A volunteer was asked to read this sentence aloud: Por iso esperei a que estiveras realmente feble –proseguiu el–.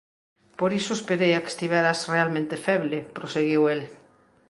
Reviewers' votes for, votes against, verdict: 2, 0, accepted